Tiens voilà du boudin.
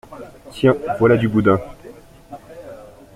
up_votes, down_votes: 2, 0